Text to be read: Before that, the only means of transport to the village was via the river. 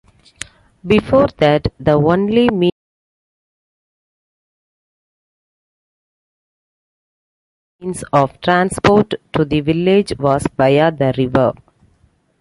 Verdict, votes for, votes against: rejected, 1, 2